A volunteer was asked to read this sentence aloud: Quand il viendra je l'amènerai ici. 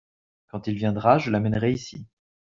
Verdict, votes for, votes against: accepted, 3, 0